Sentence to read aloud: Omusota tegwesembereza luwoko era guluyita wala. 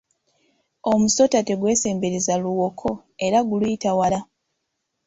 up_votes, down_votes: 2, 0